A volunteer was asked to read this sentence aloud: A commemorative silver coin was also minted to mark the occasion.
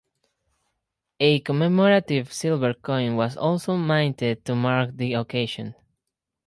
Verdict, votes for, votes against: accepted, 4, 2